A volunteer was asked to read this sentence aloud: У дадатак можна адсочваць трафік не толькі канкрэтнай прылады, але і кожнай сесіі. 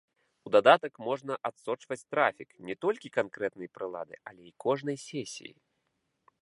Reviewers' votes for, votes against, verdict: 2, 0, accepted